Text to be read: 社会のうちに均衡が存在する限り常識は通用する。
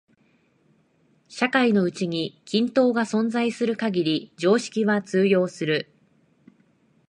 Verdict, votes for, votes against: rejected, 0, 2